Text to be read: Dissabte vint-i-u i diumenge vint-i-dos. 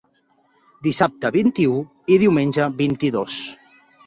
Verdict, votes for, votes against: accepted, 3, 0